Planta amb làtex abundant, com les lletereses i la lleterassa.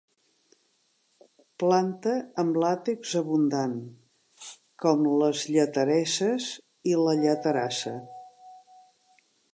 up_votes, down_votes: 2, 0